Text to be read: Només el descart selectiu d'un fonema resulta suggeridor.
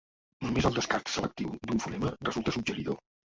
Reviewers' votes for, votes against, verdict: 1, 2, rejected